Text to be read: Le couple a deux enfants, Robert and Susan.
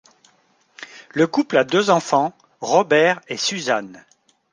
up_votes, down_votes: 1, 2